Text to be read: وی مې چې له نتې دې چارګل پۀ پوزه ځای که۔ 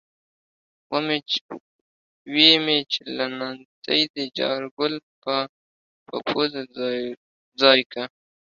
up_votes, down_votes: 0, 2